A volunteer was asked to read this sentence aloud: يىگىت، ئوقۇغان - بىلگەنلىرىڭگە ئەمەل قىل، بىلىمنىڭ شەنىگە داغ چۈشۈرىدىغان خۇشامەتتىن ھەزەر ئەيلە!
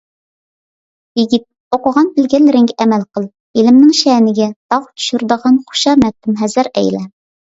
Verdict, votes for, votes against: accepted, 2, 0